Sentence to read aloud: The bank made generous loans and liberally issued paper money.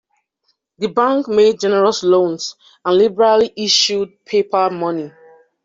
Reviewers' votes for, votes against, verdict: 2, 0, accepted